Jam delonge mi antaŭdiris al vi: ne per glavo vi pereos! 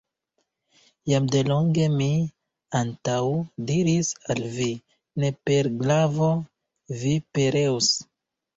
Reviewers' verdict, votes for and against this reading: accepted, 2, 0